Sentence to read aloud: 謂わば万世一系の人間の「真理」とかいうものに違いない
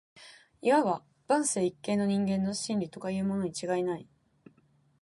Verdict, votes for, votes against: accepted, 2, 0